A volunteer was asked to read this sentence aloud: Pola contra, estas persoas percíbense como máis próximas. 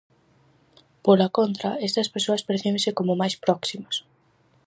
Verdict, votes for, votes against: rejected, 2, 2